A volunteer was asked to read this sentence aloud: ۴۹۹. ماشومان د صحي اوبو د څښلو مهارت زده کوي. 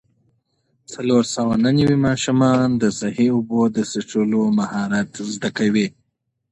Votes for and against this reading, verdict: 0, 2, rejected